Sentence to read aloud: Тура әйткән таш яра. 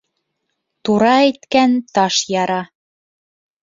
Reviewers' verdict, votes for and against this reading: accepted, 2, 0